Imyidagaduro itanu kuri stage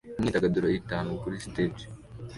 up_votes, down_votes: 2, 0